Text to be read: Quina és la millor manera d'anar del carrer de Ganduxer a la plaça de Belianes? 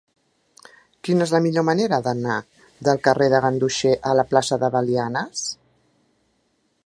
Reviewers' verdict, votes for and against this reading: accepted, 2, 0